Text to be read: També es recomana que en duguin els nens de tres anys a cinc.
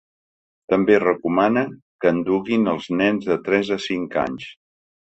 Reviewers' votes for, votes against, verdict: 1, 2, rejected